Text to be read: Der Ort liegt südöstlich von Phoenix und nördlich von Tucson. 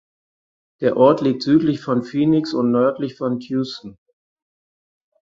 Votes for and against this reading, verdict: 0, 4, rejected